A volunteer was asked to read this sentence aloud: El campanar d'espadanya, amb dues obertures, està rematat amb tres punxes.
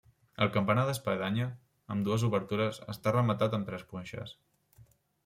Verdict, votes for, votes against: accepted, 3, 0